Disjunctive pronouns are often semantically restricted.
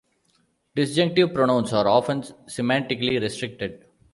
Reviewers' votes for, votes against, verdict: 2, 0, accepted